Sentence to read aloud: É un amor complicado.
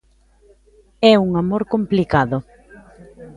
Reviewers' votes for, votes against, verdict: 2, 0, accepted